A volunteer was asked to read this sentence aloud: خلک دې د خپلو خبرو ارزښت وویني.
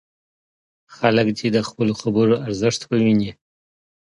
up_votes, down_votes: 2, 0